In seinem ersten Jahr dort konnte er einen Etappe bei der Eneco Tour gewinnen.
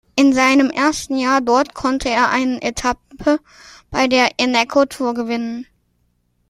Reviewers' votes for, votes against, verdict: 1, 2, rejected